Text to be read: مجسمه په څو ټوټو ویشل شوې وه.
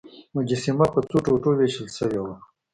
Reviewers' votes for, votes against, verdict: 2, 0, accepted